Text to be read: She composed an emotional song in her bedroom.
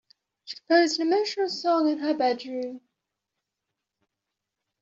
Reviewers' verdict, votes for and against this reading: rejected, 1, 2